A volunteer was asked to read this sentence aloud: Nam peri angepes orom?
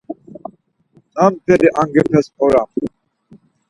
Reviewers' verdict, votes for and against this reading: accepted, 4, 0